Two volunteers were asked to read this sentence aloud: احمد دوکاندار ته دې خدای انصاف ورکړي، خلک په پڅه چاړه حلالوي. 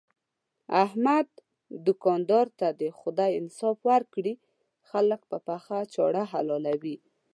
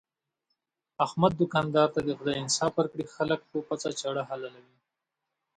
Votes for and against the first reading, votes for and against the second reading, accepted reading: 1, 2, 2, 0, second